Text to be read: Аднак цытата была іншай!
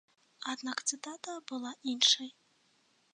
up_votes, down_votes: 2, 0